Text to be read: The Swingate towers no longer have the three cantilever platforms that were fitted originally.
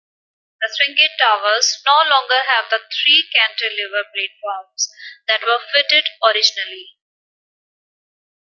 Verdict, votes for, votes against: accepted, 2, 0